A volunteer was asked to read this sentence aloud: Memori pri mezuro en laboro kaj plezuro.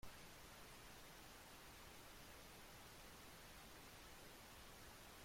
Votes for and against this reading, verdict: 0, 2, rejected